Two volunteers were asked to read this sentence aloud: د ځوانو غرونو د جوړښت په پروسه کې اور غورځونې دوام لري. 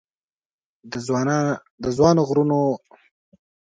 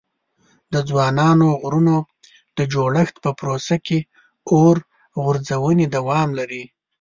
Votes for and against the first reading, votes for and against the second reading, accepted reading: 0, 2, 2, 1, second